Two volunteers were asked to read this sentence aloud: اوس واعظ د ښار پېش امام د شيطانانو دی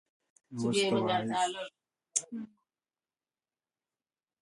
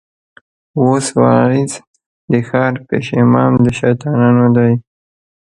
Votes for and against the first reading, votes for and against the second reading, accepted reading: 0, 2, 2, 0, second